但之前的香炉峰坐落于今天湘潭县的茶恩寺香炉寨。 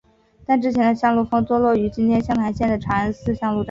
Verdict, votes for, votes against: accepted, 2, 1